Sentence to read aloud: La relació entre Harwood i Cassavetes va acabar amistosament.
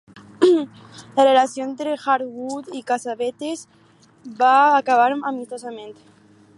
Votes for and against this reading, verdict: 4, 2, accepted